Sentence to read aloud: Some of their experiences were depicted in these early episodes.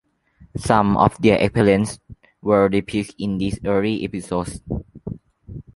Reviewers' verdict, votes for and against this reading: rejected, 0, 3